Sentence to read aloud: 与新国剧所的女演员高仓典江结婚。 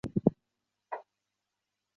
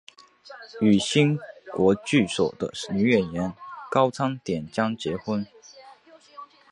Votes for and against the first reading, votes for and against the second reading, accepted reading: 2, 4, 2, 0, second